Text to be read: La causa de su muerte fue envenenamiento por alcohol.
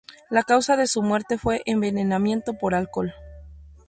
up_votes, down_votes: 2, 0